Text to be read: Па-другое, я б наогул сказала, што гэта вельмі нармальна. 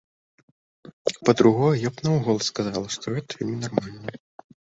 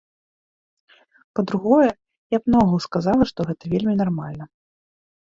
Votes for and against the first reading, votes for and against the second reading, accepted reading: 0, 2, 2, 0, second